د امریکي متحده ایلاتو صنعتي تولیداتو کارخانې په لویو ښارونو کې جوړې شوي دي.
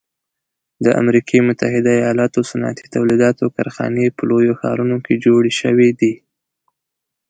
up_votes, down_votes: 2, 0